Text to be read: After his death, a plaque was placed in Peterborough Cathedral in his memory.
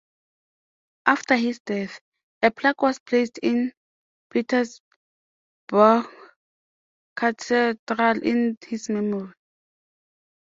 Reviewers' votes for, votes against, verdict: 0, 2, rejected